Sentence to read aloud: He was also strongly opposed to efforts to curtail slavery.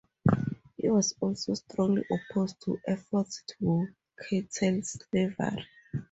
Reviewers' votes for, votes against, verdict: 0, 2, rejected